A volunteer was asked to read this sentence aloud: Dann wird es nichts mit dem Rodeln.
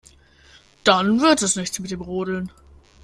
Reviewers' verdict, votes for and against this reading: accepted, 2, 0